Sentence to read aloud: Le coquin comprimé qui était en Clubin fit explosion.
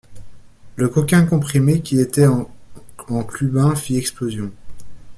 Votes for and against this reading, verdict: 1, 2, rejected